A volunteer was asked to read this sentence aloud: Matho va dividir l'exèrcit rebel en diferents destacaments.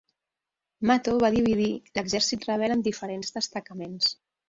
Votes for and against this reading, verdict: 4, 1, accepted